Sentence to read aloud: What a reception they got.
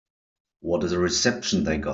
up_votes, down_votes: 0, 2